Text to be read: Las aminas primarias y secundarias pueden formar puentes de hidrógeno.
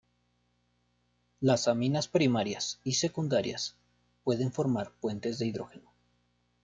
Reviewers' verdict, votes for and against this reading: accepted, 2, 0